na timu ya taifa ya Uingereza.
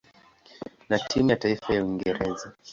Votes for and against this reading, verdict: 2, 0, accepted